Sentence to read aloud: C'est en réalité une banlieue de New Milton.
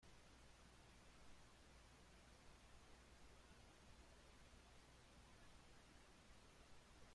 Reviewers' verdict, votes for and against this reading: rejected, 0, 2